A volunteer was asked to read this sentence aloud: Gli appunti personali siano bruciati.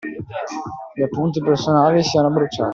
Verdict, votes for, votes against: accepted, 2, 1